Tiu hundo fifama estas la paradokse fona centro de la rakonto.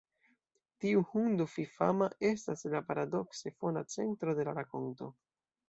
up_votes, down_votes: 2, 0